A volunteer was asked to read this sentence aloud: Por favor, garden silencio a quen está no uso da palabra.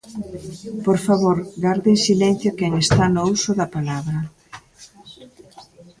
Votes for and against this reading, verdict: 0, 2, rejected